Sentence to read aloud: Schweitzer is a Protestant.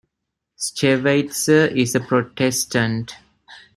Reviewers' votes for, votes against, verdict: 1, 2, rejected